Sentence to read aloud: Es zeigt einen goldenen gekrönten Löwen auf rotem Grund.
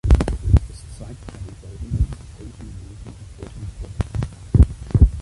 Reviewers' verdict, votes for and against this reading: rejected, 1, 2